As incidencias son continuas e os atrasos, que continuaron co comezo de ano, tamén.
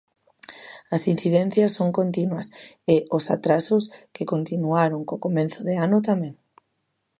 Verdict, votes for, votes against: rejected, 0, 2